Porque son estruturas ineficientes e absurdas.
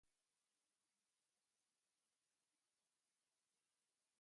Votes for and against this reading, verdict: 0, 2, rejected